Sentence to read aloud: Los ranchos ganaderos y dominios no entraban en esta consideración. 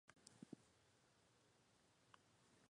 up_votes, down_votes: 0, 2